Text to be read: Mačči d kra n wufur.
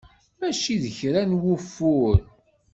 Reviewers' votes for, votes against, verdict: 2, 0, accepted